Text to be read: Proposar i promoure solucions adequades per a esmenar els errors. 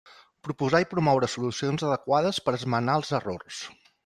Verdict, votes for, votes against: accepted, 2, 0